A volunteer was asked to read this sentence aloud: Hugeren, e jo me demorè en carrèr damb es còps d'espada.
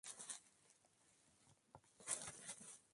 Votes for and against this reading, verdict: 0, 2, rejected